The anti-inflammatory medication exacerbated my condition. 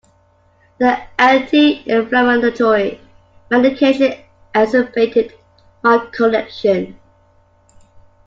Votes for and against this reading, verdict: 0, 2, rejected